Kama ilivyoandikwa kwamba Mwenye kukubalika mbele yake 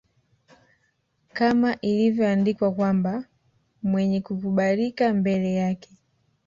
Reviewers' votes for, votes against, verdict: 1, 2, rejected